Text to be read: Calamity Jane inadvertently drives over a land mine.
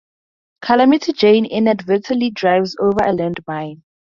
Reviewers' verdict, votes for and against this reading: accepted, 2, 0